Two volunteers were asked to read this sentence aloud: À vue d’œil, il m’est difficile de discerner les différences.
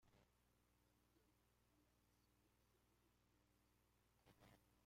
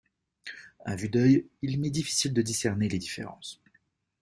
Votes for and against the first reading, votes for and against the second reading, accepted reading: 0, 2, 3, 0, second